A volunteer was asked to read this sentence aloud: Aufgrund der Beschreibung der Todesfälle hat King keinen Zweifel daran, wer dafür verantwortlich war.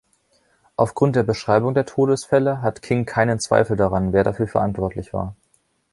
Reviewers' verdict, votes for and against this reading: rejected, 0, 2